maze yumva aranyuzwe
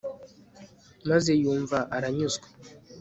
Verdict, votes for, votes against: accepted, 2, 0